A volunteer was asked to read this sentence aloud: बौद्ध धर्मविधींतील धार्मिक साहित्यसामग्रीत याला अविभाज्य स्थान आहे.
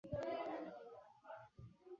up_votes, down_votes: 0, 2